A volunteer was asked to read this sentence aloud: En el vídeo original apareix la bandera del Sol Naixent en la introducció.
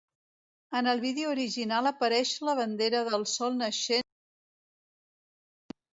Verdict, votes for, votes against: rejected, 1, 2